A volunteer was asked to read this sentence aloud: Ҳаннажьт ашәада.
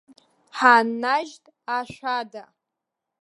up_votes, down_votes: 1, 2